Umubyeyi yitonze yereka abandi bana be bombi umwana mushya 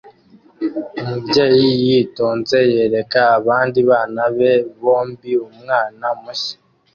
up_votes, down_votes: 2, 0